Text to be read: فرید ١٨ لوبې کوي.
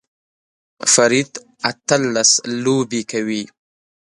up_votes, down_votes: 0, 2